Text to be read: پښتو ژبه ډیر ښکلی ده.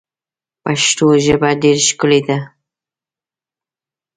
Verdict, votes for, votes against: accepted, 2, 0